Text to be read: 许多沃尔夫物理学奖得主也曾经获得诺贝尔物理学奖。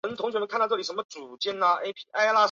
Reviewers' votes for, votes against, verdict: 1, 2, rejected